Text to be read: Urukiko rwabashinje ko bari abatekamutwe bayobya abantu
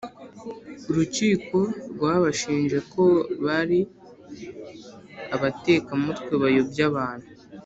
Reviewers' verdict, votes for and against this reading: accepted, 6, 0